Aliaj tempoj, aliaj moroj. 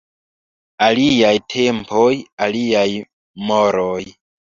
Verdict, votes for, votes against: rejected, 0, 2